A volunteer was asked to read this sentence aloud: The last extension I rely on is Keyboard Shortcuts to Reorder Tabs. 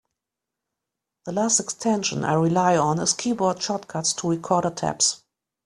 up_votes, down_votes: 0, 2